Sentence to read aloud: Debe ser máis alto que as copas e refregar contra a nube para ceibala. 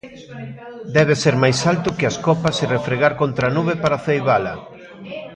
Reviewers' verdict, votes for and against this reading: rejected, 1, 2